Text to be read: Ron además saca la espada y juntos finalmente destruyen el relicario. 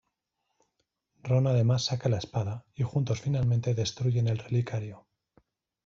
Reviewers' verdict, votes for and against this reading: accepted, 2, 0